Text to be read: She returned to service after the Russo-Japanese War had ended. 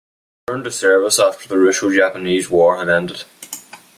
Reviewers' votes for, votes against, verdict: 0, 2, rejected